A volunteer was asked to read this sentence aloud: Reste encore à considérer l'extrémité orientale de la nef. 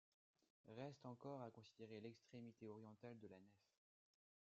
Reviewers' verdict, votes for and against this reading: rejected, 0, 2